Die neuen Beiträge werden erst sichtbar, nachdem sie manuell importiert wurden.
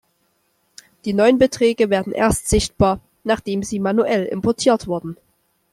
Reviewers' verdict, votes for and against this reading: rejected, 0, 2